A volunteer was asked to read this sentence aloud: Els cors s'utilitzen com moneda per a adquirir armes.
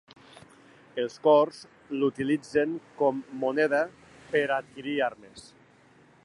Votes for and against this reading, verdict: 2, 1, accepted